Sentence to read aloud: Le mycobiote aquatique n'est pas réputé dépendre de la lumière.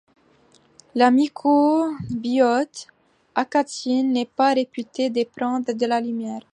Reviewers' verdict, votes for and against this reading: rejected, 0, 2